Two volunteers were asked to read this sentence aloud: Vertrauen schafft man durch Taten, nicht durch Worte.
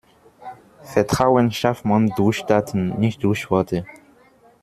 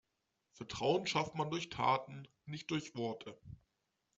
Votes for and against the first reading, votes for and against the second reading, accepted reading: 0, 2, 2, 0, second